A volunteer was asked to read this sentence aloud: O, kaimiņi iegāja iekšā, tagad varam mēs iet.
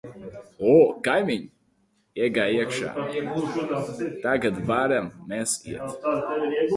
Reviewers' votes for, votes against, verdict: 0, 2, rejected